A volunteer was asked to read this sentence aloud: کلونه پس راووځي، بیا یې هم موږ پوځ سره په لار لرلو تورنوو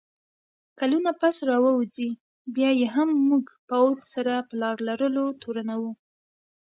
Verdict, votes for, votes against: accepted, 2, 0